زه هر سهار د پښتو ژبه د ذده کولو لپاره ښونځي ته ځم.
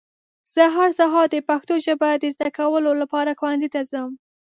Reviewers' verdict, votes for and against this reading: accepted, 2, 0